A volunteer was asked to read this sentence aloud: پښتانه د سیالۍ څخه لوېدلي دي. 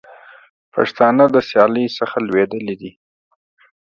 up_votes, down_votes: 3, 0